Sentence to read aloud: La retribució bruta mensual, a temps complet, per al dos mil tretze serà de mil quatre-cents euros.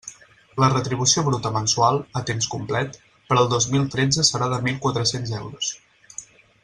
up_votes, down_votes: 6, 0